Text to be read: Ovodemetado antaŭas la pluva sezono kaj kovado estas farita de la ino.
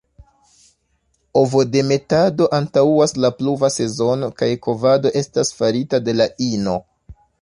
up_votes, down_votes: 1, 2